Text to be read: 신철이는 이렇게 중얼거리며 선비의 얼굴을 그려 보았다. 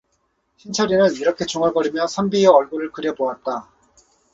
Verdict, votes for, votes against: rejected, 2, 2